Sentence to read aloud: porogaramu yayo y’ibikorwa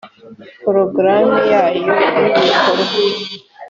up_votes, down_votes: 3, 0